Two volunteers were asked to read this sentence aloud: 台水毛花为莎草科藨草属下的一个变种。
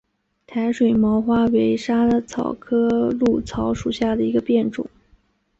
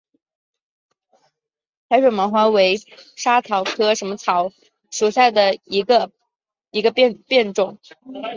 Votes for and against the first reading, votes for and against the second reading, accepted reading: 4, 2, 1, 2, first